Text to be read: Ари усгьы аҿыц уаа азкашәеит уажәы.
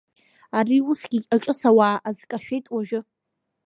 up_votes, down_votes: 0, 2